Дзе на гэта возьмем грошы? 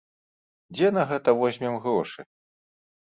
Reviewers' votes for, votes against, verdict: 2, 0, accepted